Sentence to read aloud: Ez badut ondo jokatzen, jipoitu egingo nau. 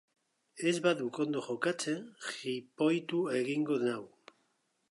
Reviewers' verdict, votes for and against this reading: rejected, 1, 2